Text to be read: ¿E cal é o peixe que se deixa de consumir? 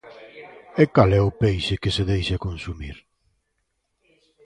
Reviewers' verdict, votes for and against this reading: rejected, 0, 2